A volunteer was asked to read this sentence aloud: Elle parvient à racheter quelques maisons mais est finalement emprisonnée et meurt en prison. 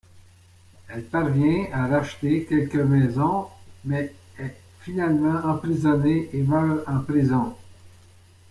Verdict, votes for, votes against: accepted, 2, 0